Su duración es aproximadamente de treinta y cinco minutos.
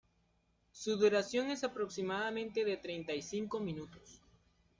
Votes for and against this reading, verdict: 0, 2, rejected